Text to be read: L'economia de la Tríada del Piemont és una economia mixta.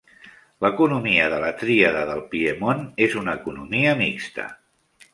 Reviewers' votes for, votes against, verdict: 3, 0, accepted